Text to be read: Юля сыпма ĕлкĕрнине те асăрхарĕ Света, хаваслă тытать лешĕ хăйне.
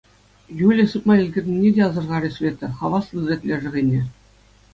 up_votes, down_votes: 2, 0